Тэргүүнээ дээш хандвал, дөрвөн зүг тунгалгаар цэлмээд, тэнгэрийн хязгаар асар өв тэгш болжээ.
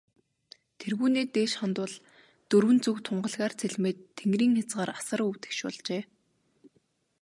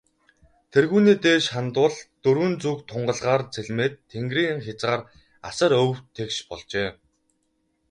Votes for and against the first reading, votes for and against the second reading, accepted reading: 2, 0, 0, 2, first